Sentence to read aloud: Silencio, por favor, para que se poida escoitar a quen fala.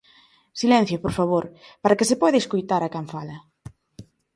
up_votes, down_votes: 2, 0